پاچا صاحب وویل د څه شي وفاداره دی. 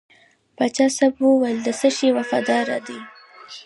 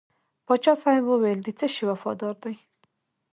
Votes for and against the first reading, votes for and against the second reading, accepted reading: 1, 2, 3, 1, second